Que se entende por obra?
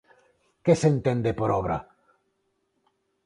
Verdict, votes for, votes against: accepted, 4, 0